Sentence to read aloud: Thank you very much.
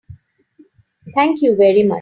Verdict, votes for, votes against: rejected, 3, 4